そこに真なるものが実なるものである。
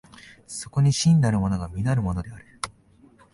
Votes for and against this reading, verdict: 3, 0, accepted